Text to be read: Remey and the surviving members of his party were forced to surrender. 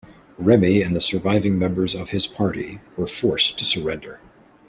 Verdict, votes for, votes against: accepted, 2, 0